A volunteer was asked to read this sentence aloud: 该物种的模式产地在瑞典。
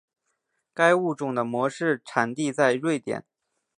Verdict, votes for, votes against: accepted, 3, 0